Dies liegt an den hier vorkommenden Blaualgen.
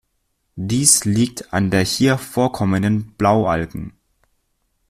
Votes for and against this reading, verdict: 0, 2, rejected